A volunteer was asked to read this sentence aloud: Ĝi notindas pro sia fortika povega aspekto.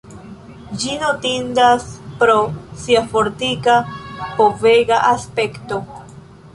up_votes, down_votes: 2, 0